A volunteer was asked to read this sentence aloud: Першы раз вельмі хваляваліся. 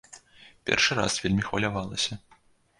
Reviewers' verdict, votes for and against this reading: rejected, 0, 2